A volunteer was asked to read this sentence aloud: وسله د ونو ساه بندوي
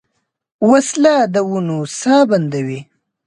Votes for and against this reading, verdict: 2, 0, accepted